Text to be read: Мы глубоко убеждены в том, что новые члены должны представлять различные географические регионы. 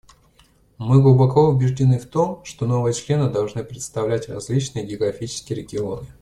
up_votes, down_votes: 2, 0